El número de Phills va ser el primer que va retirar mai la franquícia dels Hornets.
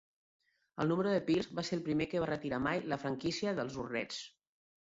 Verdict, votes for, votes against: rejected, 1, 2